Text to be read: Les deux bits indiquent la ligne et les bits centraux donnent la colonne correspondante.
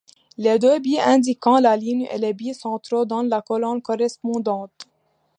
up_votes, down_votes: 0, 2